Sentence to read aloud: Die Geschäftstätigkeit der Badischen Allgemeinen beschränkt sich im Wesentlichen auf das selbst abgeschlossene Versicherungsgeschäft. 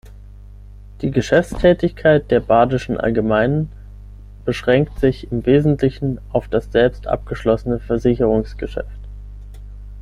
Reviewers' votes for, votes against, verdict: 9, 0, accepted